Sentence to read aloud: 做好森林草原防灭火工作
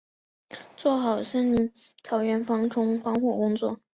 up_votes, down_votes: 1, 2